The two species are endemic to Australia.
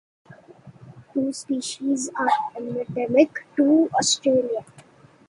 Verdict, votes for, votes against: rejected, 0, 2